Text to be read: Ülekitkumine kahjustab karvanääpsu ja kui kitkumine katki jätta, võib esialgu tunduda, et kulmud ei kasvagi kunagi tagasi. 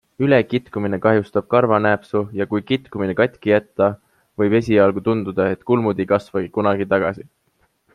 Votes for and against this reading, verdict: 2, 0, accepted